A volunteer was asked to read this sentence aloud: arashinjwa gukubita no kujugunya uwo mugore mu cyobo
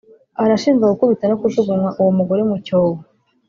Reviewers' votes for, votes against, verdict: 0, 2, rejected